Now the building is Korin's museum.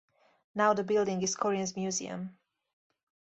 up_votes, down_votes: 4, 0